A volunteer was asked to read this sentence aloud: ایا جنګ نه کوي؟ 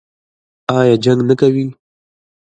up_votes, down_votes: 1, 2